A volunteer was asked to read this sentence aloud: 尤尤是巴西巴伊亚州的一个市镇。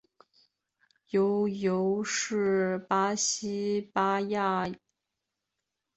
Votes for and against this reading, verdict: 1, 2, rejected